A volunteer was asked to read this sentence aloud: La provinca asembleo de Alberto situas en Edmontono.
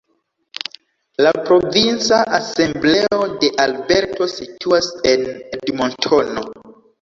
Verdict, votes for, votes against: rejected, 1, 2